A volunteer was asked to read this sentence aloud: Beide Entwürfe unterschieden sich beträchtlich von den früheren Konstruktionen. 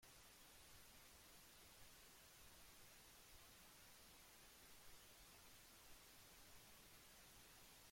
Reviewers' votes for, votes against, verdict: 0, 2, rejected